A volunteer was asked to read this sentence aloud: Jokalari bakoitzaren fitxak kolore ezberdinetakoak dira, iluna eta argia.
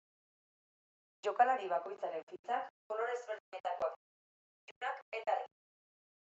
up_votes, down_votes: 0, 2